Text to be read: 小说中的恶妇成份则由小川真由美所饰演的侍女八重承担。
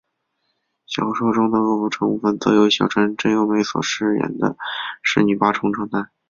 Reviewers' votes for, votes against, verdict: 0, 2, rejected